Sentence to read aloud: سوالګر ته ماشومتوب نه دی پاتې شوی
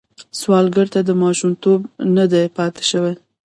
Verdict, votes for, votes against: rejected, 1, 2